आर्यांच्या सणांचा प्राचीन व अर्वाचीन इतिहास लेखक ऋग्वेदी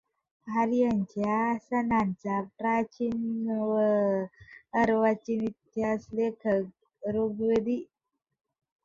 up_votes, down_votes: 2, 0